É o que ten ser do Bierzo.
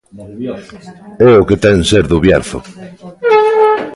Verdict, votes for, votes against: rejected, 0, 2